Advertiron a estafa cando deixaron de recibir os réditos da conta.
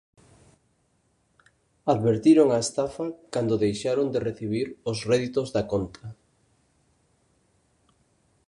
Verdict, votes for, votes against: accepted, 2, 0